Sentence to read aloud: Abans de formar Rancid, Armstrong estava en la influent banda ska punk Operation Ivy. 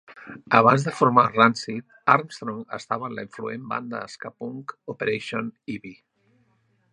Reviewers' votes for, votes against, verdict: 2, 0, accepted